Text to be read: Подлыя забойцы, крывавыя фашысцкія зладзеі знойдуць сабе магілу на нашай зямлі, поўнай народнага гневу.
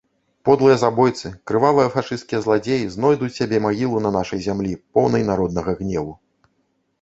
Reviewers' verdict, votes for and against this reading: rejected, 1, 2